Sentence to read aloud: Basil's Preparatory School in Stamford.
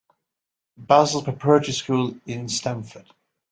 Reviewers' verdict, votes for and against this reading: accepted, 2, 1